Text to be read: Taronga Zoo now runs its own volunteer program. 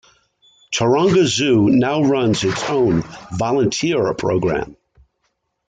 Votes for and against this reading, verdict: 2, 0, accepted